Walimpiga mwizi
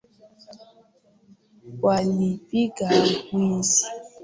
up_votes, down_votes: 0, 2